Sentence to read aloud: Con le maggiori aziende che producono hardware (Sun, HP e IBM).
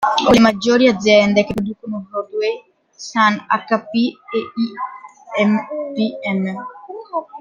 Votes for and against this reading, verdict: 0, 2, rejected